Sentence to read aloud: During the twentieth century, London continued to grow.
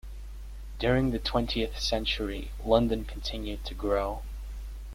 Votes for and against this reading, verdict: 2, 0, accepted